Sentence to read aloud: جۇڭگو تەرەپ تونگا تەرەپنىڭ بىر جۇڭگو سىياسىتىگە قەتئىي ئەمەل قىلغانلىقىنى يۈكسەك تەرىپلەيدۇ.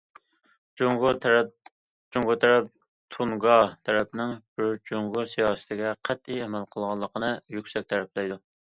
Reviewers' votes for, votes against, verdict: 0, 2, rejected